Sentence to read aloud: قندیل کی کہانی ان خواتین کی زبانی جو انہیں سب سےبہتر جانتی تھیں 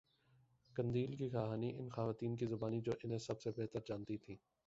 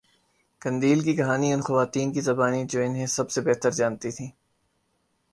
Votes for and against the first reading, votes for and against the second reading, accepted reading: 1, 2, 10, 2, second